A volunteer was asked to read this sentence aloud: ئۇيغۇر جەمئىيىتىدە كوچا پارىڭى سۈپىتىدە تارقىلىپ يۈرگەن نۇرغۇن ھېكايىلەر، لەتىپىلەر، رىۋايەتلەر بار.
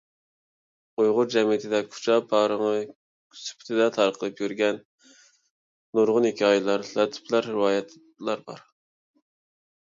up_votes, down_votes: 1, 2